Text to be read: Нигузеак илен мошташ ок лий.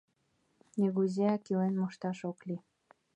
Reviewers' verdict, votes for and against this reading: accepted, 2, 0